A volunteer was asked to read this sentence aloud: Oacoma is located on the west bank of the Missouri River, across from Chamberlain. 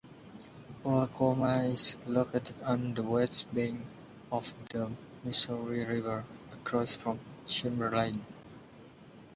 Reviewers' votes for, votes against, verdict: 0, 2, rejected